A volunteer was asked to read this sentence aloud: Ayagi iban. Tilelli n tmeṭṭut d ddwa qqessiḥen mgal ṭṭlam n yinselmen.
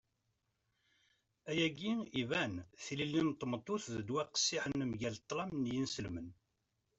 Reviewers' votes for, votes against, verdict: 2, 1, accepted